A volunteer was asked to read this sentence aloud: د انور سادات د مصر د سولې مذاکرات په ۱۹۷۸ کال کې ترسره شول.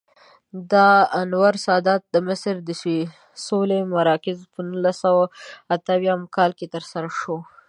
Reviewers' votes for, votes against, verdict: 0, 2, rejected